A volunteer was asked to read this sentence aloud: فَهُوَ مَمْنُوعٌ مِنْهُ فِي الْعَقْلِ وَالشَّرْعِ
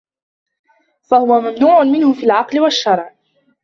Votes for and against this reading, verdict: 0, 2, rejected